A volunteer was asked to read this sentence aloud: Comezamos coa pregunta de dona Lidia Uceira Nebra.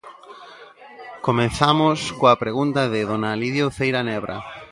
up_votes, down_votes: 0, 2